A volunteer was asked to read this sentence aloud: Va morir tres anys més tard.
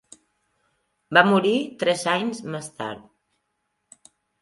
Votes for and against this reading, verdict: 1, 2, rejected